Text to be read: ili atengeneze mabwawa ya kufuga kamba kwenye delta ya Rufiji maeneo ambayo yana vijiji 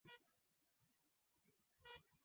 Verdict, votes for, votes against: rejected, 0, 2